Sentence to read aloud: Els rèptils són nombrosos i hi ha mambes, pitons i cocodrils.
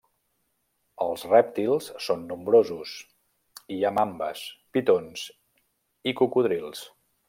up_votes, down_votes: 2, 0